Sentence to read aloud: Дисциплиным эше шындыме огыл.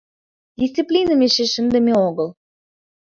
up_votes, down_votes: 2, 0